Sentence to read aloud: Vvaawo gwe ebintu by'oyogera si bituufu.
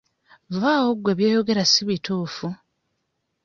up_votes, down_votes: 0, 2